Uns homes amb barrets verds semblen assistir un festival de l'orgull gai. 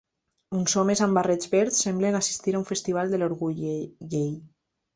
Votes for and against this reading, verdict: 1, 2, rejected